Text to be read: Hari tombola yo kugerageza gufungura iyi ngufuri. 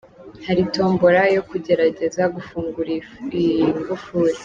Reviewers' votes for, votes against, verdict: 1, 2, rejected